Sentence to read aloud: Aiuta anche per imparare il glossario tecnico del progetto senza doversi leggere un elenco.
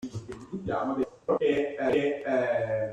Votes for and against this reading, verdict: 0, 2, rejected